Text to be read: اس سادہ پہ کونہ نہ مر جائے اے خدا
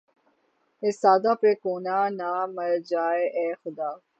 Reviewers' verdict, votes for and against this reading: accepted, 51, 3